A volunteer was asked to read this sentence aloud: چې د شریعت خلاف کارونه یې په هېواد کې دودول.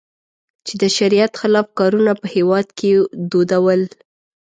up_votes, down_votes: 2, 1